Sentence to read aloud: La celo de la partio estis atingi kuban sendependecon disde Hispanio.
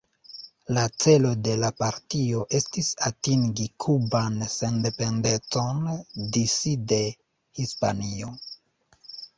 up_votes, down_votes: 1, 2